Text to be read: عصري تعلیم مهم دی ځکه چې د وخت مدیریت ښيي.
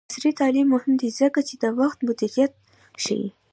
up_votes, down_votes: 2, 0